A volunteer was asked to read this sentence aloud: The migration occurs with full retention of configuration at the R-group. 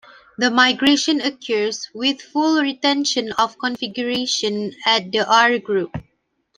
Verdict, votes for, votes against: accepted, 2, 0